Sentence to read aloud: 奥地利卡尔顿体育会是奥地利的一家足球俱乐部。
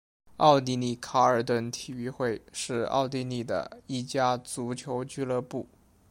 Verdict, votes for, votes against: accepted, 2, 0